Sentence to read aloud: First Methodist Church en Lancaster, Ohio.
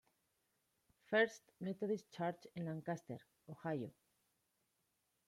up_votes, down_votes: 1, 2